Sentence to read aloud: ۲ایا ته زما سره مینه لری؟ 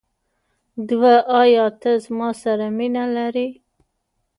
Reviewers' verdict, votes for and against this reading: rejected, 0, 2